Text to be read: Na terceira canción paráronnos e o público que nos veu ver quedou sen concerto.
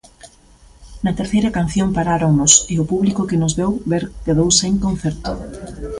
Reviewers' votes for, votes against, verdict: 2, 0, accepted